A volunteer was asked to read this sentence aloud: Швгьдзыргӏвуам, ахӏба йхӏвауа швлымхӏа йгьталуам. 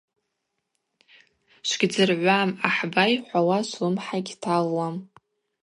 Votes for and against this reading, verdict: 2, 0, accepted